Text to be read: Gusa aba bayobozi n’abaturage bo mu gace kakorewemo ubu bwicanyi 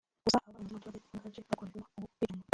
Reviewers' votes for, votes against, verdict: 0, 2, rejected